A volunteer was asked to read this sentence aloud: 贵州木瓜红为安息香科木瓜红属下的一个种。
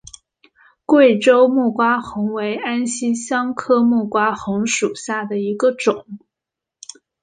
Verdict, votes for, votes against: accepted, 2, 1